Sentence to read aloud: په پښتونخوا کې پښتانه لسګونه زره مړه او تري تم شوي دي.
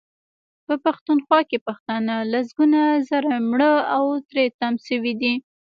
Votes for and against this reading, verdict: 1, 2, rejected